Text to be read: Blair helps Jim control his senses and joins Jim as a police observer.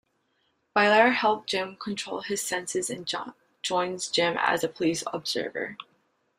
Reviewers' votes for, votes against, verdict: 2, 1, accepted